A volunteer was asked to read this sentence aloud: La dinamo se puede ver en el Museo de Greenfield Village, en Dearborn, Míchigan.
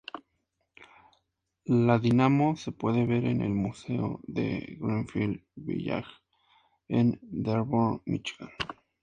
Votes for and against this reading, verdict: 2, 0, accepted